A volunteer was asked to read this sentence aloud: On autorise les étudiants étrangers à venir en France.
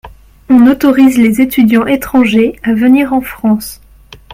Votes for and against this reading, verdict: 2, 0, accepted